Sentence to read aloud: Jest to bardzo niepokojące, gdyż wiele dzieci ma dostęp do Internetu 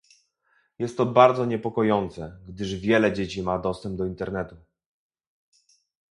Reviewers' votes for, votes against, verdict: 2, 0, accepted